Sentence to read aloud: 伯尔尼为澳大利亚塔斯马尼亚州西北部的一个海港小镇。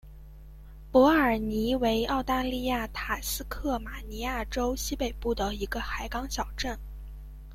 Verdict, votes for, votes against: rejected, 1, 2